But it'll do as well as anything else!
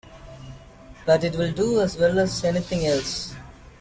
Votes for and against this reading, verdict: 0, 2, rejected